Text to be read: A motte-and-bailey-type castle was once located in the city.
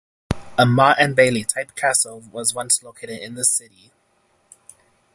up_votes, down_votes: 6, 0